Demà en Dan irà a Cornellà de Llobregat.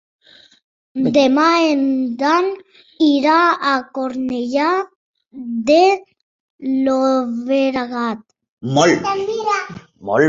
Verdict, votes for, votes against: rejected, 0, 2